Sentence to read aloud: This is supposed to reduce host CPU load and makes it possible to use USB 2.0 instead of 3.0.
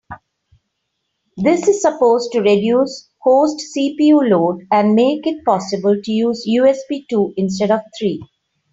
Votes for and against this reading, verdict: 0, 2, rejected